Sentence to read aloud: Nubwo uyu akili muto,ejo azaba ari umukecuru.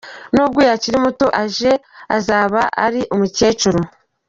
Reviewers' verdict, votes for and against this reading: rejected, 1, 2